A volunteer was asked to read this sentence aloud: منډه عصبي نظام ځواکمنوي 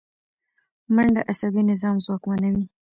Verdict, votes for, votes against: rejected, 2, 3